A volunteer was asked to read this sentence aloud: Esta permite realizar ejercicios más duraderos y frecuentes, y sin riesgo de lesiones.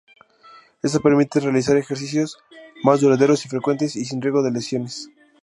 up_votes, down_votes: 0, 2